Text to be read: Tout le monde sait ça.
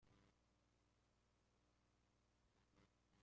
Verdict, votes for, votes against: rejected, 0, 3